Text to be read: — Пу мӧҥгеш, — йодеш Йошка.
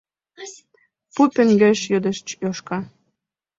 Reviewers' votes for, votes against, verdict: 0, 2, rejected